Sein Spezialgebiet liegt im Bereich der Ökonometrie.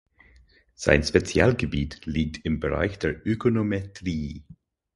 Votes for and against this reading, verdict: 4, 0, accepted